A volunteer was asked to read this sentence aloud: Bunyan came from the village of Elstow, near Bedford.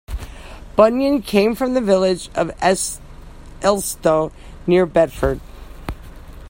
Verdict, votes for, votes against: rejected, 1, 2